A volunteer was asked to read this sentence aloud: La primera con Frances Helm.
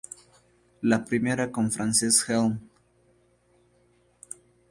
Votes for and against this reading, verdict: 2, 0, accepted